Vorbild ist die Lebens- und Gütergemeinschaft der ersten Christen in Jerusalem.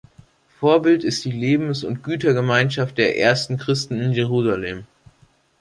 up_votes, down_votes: 2, 0